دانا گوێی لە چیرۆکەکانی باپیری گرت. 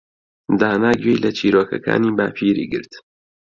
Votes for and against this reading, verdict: 2, 0, accepted